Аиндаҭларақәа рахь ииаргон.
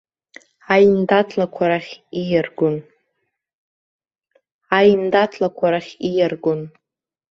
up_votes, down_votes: 1, 2